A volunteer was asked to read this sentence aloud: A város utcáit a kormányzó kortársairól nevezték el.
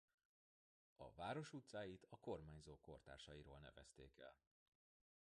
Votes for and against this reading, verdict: 1, 2, rejected